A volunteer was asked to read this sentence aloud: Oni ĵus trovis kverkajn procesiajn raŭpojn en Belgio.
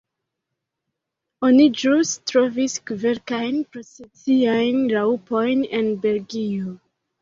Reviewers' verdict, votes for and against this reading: rejected, 1, 2